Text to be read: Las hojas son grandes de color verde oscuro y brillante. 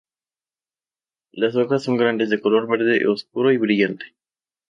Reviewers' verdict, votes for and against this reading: accepted, 2, 0